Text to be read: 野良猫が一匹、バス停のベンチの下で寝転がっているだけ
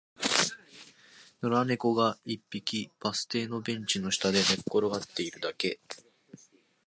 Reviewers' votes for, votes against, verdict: 0, 2, rejected